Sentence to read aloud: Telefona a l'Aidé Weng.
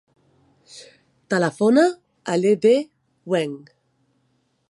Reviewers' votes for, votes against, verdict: 0, 2, rejected